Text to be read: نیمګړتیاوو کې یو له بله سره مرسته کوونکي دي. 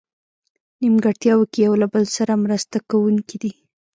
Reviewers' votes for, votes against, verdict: 1, 2, rejected